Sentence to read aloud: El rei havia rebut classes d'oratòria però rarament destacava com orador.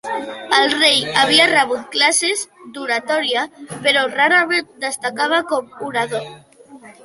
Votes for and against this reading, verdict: 1, 2, rejected